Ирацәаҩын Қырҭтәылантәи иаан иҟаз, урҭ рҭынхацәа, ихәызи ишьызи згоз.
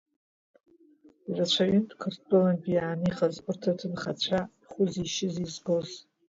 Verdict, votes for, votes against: rejected, 1, 2